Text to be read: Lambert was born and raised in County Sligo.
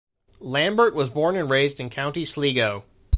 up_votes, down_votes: 2, 0